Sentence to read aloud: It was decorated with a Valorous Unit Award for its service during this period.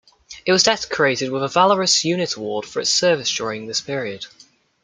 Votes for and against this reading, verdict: 1, 2, rejected